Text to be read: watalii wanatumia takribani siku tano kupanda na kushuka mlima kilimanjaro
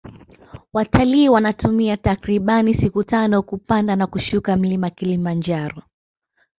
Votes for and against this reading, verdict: 1, 2, rejected